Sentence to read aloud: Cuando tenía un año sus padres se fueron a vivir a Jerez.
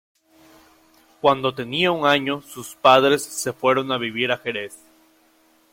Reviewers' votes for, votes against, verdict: 0, 2, rejected